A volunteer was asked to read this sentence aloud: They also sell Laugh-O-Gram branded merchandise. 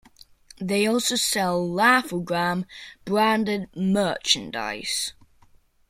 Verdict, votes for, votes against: accepted, 2, 0